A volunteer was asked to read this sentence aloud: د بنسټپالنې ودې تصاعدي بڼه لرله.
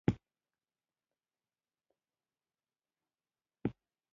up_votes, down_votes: 1, 2